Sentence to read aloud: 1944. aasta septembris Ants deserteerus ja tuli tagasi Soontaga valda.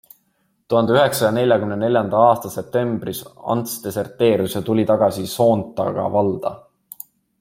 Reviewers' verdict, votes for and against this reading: rejected, 0, 2